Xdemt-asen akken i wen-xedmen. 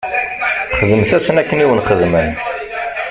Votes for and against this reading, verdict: 2, 0, accepted